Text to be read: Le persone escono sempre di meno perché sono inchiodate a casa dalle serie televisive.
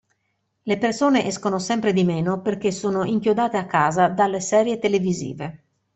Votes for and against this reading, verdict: 2, 0, accepted